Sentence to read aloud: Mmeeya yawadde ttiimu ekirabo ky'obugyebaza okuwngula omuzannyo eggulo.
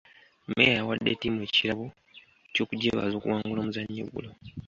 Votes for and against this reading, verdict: 0, 2, rejected